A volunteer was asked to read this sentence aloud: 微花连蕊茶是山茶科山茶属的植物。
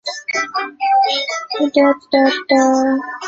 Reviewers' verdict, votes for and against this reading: rejected, 0, 2